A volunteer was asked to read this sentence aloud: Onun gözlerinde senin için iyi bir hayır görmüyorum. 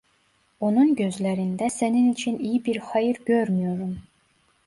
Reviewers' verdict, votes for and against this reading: accepted, 2, 0